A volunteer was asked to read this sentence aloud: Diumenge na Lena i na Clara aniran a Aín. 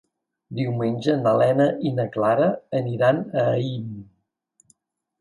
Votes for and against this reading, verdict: 3, 0, accepted